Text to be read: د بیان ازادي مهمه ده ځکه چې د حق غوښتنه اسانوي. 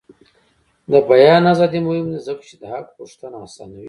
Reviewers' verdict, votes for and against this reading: rejected, 0, 2